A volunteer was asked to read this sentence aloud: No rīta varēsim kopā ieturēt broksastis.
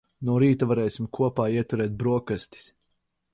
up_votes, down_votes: 0, 4